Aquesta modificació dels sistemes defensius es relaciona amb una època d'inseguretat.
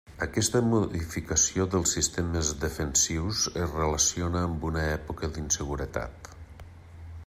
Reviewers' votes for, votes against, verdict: 3, 0, accepted